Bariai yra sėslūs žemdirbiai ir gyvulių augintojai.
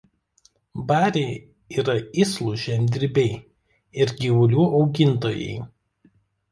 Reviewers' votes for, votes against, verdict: 1, 2, rejected